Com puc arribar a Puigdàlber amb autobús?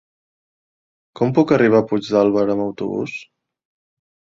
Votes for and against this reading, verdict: 4, 0, accepted